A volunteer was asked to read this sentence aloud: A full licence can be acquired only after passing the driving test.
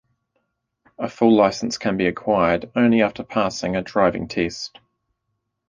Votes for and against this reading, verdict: 1, 2, rejected